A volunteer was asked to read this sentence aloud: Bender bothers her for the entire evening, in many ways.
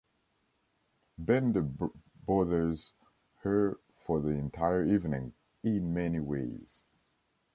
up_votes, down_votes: 1, 2